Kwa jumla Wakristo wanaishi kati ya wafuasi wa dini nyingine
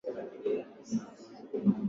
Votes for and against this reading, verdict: 0, 2, rejected